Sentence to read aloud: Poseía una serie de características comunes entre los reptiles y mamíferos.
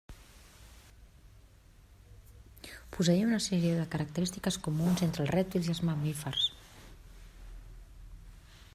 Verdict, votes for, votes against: rejected, 0, 2